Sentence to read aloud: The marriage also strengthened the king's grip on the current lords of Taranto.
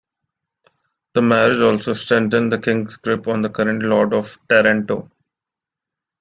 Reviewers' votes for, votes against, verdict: 1, 2, rejected